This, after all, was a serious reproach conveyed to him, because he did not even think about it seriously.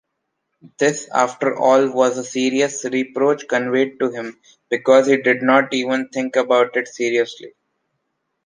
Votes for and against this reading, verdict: 2, 1, accepted